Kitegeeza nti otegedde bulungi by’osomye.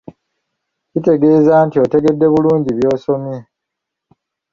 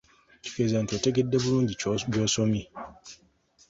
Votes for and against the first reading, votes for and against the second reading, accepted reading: 3, 0, 1, 2, first